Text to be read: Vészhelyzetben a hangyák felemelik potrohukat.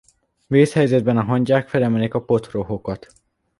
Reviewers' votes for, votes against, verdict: 0, 2, rejected